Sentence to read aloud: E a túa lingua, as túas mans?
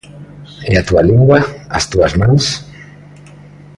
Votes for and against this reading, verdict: 2, 0, accepted